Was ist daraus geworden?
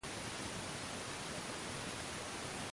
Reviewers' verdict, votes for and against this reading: rejected, 0, 2